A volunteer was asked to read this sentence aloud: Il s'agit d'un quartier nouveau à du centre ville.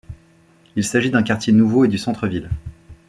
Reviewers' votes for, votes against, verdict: 1, 2, rejected